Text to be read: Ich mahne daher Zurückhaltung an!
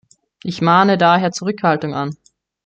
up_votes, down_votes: 2, 1